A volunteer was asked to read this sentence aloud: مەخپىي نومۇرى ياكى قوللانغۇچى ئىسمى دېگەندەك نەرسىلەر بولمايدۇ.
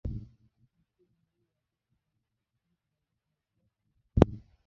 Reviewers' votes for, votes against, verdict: 0, 2, rejected